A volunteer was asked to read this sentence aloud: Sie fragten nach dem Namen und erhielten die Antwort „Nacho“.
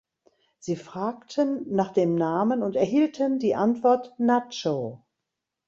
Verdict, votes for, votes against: accepted, 2, 0